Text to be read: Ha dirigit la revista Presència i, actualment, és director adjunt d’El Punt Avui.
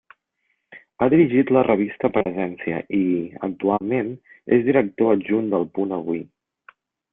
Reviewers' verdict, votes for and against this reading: accepted, 2, 0